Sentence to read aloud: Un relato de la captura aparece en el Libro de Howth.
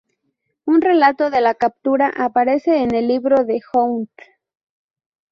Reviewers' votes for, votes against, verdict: 2, 0, accepted